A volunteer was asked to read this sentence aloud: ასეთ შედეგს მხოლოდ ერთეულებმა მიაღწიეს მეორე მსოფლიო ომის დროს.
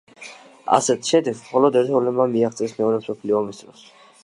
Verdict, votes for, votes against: rejected, 1, 2